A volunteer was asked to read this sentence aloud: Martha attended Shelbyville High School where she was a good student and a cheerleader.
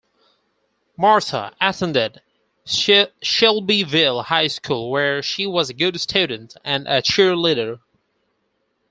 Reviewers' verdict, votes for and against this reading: rejected, 0, 4